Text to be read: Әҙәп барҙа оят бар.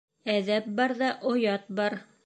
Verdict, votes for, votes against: accepted, 2, 0